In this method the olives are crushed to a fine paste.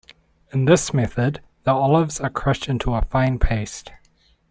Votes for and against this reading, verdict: 1, 2, rejected